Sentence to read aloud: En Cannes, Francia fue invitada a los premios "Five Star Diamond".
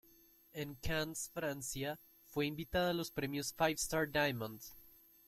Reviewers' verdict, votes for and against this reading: accepted, 2, 1